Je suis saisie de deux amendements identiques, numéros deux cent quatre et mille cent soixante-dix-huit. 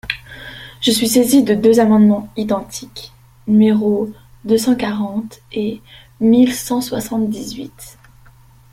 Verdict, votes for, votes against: rejected, 0, 2